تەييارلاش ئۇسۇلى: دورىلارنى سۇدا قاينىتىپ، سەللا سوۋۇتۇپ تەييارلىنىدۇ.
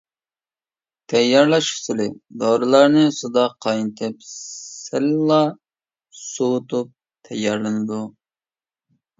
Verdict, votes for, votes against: rejected, 1, 2